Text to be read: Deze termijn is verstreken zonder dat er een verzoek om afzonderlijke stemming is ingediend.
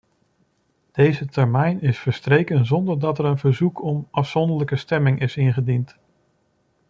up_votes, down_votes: 2, 0